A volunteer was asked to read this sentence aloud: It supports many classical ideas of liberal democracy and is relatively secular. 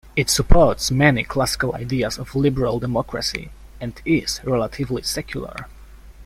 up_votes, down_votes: 2, 0